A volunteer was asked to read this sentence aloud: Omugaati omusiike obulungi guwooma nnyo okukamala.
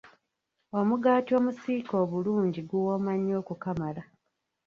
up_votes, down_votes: 0, 2